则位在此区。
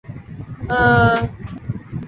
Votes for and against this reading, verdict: 2, 4, rejected